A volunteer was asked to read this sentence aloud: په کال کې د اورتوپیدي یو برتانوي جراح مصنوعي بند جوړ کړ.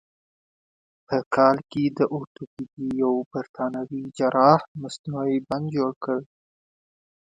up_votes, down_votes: 1, 2